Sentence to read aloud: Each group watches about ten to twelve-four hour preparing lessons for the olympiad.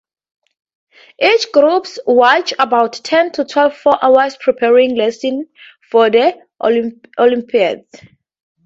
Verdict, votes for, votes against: accepted, 2, 0